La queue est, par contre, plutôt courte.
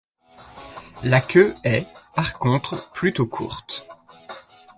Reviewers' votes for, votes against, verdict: 2, 1, accepted